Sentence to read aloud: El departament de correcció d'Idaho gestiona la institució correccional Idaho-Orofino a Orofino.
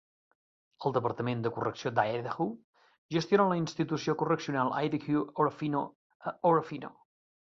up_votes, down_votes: 2, 1